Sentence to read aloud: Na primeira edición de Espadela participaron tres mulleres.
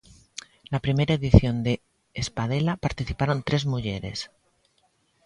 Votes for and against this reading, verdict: 2, 0, accepted